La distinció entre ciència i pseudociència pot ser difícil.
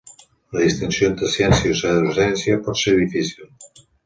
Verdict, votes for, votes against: rejected, 1, 2